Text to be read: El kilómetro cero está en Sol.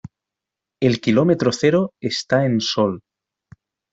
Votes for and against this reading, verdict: 2, 1, accepted